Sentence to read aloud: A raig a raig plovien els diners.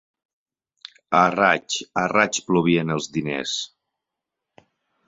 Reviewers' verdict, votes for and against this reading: accepted, 4, 0